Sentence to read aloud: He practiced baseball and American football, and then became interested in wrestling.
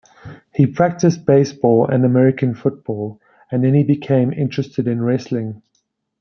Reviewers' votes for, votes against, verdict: 0, 2, rejected